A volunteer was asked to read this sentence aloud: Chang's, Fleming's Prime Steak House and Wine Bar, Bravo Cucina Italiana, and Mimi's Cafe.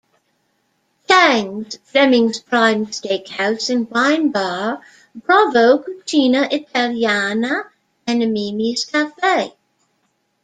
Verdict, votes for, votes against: rejected, 1, 2